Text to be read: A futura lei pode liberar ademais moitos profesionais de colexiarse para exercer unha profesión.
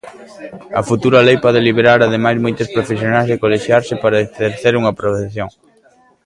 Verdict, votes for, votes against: rejected, 0, 2